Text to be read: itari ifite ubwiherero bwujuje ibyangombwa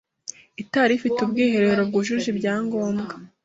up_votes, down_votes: 2, 0